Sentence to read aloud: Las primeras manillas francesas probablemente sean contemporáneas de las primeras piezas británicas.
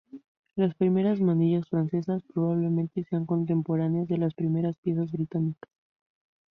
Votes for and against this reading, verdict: 0, 2, rejected